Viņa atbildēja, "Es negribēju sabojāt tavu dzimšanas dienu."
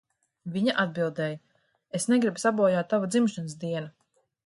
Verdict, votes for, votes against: rejected, 0, 2